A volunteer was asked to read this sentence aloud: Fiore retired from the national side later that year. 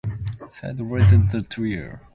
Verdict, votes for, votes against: rejected, 0, 11